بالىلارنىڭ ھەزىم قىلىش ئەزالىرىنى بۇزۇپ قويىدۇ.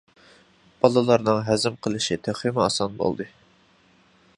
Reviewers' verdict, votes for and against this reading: rejected, 0, 2